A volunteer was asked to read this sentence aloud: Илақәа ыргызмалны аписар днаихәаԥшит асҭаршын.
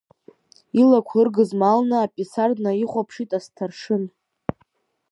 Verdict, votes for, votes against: rejected, 0, 2